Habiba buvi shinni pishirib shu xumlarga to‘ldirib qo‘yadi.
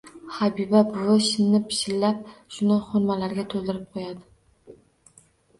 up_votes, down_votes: 0, 2